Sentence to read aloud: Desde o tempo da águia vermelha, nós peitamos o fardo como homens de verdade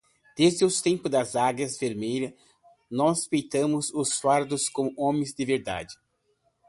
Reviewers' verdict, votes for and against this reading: rejected, 0, 2